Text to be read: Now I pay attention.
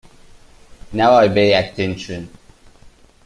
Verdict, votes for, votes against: rejected, 0, 2